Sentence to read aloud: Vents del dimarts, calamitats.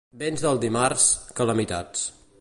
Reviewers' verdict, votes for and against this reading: accepted, 2, 0